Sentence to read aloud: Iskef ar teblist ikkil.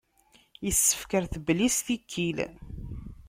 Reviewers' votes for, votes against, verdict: 1, 2, rejected